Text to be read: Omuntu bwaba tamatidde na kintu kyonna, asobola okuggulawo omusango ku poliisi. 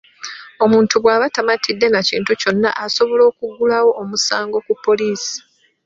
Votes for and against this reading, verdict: 2, 0, accepted